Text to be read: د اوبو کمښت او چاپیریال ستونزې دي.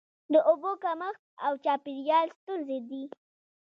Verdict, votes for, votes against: rejected, 1, 2